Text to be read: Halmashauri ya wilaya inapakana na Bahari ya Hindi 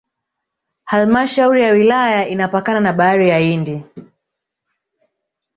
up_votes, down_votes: 1, 2